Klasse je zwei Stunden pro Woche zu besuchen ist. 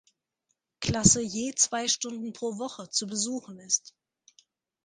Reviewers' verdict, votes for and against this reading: accepted, 2, 0